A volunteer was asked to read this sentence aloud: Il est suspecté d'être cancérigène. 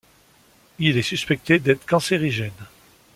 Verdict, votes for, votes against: accepted, 2, 0